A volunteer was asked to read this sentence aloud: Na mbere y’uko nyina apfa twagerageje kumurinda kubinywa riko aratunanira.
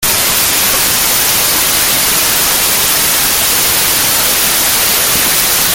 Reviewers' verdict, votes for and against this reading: rejected, 0, 2